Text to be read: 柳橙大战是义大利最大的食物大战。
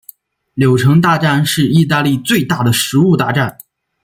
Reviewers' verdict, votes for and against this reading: accepted, 2, 0